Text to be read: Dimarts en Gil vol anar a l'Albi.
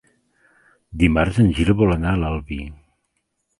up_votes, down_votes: 3, 0